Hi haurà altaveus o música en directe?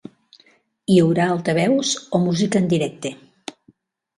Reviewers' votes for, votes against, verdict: 3, 1, accepted